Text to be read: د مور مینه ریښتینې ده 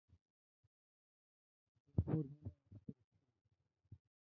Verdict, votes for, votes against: rejected, 0, 2